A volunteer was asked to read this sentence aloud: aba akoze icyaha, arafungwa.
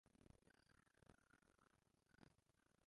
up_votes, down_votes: 0, 2